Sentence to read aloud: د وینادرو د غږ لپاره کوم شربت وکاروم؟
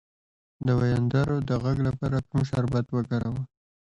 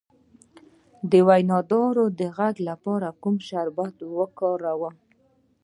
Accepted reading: second